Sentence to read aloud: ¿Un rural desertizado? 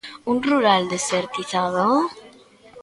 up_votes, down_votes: 0, 2